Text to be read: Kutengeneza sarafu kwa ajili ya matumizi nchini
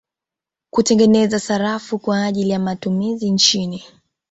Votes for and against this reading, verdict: 2, 0, accepted